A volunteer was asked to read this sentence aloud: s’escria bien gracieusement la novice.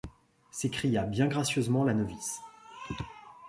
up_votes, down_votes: 2, 0